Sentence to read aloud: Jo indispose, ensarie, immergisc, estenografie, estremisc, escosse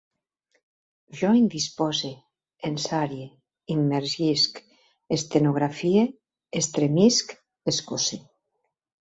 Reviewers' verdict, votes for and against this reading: accepted, 2, 0